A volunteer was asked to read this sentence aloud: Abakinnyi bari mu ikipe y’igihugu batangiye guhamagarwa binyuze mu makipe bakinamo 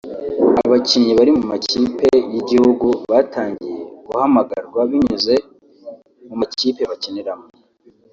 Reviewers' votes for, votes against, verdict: 0, 2, rejected